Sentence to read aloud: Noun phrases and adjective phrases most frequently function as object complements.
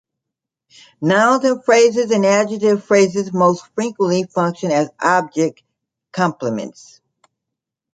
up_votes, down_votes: 1, 2